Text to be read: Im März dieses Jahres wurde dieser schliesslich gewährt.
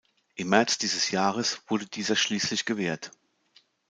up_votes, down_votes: 2, 0